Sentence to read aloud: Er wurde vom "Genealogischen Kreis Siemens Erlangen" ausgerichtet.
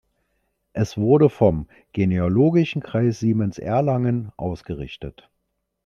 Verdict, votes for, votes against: rejected, 0, 2